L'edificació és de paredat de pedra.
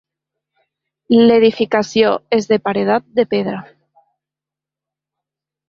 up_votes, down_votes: 2, 0